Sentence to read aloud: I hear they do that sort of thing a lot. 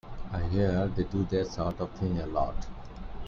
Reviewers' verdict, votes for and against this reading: rejected, 1, 2